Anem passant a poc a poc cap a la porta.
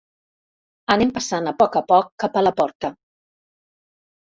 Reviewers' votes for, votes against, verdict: 4, 0, accepted